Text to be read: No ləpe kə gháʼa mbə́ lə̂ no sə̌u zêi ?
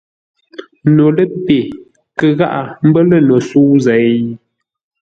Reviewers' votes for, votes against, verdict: 2, 0, accepted